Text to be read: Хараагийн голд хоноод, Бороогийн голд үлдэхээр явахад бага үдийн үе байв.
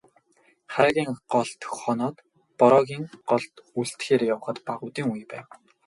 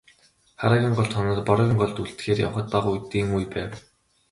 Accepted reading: first